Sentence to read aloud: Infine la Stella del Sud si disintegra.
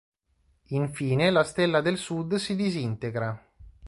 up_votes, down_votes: 2, 0